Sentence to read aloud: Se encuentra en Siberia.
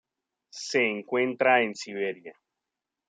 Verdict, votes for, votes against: accepted, 2, 0